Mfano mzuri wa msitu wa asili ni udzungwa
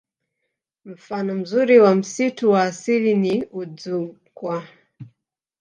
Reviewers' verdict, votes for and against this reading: rejected, 0, 2